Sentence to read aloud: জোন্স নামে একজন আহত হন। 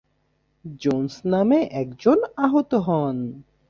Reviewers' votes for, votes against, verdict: 2, 1, accepted